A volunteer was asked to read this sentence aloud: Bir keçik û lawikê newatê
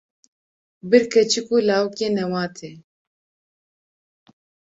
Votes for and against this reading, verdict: 2, 0, accepted